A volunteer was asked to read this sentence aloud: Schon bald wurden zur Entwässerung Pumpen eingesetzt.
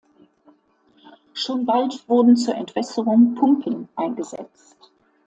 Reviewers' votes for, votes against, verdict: 2, 1, accepted